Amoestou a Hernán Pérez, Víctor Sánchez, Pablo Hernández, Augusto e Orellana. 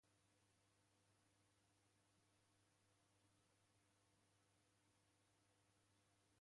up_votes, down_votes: 0, 2